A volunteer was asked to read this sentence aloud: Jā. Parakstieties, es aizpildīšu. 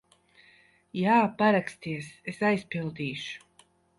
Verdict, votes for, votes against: rejected, 1, 2